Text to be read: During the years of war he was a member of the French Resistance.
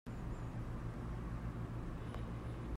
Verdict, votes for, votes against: rejected, 0, 2